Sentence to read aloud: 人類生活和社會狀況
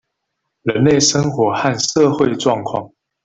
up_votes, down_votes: 1, 2